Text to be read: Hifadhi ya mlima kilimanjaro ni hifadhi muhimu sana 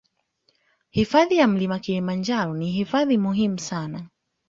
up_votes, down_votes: 2, 1